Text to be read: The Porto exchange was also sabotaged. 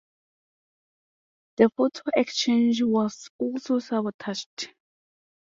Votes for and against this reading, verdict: 0, 2, rejected